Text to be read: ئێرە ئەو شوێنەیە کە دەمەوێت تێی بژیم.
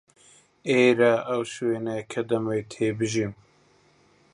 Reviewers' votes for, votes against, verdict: 1, 2, rejected